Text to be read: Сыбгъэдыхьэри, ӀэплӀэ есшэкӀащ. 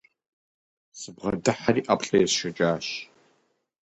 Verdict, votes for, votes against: rejected, 2, 2